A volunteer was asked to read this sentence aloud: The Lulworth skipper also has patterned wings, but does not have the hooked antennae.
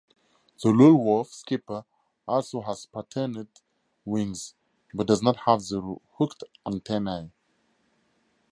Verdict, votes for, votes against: rejected, 2, 2